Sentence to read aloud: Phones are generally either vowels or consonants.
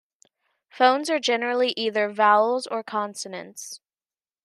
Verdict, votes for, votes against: accepted, 2, 0